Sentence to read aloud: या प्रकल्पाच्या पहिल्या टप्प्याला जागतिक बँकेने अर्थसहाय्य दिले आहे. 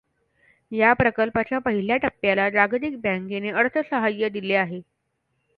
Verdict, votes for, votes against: accepted, 2, 0